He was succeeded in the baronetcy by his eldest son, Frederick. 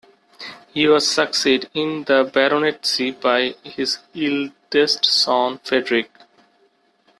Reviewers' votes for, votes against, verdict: 0, 2, rejected